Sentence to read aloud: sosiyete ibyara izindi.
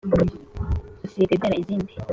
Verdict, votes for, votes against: accepted, 2, 0